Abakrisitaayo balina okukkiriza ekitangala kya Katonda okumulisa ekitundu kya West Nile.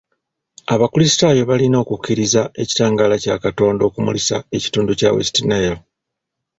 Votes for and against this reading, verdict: 2, 0, accepted